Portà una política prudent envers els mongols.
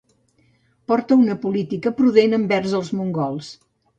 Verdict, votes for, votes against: accepted, 2, 0